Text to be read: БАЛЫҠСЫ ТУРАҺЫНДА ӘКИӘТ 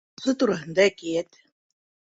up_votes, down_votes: 1, 2